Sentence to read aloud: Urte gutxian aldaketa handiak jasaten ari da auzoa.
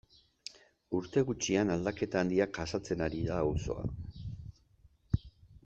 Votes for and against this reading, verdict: 2, 1, accepted